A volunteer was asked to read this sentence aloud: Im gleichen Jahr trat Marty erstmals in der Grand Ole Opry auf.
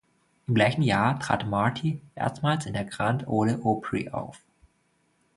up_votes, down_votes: 2, 1